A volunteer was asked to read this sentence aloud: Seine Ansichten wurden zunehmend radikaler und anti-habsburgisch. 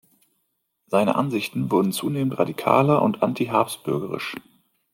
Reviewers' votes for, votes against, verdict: 0, 2, rejected